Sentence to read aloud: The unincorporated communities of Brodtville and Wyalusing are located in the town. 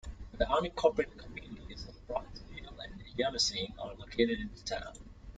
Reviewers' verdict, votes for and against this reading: accepted, 2, 1